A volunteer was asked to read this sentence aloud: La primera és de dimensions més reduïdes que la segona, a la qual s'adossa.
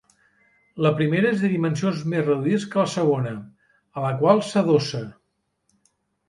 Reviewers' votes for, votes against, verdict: 4, 1, accepted